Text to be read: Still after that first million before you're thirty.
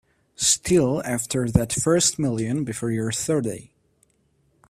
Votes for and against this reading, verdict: 2, 0, accepted